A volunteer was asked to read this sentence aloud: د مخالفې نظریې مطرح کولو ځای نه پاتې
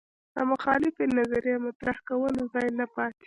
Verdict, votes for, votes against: accepted, 2, 0